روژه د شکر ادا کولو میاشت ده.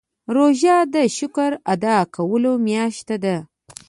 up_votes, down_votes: 2, 0